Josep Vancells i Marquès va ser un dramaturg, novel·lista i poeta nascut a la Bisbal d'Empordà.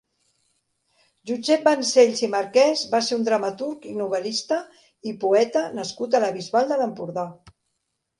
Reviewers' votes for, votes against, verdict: 1, 2, rejected